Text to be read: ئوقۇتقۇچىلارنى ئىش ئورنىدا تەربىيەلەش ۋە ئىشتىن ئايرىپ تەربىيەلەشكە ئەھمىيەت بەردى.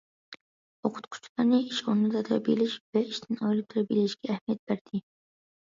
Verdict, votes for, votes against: rejected, 0, 2